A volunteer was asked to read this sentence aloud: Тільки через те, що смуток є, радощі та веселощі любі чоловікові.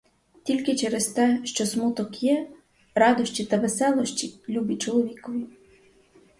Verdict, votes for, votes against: accepted, 2, 0